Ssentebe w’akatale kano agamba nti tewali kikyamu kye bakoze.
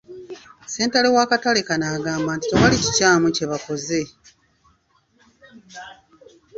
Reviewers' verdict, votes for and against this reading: rejected, 1, 2